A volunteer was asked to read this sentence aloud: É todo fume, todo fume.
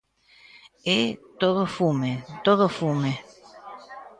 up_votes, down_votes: 1, 2